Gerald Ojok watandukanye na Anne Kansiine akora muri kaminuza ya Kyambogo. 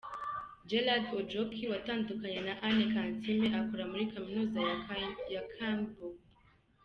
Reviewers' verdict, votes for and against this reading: rejected, 1, 2